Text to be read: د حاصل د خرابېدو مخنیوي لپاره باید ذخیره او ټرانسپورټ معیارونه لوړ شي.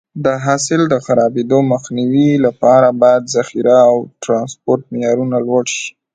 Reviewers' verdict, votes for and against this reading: accepted, 2, 0